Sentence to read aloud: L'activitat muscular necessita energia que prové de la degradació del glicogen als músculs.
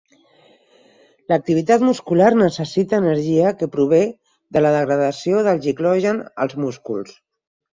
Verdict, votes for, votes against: rejected, 2, 4